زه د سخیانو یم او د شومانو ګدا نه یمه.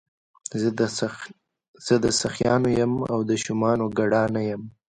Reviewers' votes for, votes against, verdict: 1, 2, rejected